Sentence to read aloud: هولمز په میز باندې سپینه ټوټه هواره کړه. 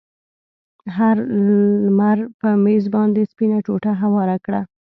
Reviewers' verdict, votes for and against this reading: rejected, 1, 2